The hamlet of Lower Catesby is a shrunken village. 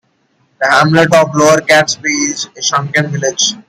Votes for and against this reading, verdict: 2, 1, accepted